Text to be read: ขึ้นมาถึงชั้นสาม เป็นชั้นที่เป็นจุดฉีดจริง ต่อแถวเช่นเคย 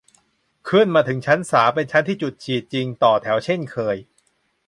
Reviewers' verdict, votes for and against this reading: rejected, 1, 2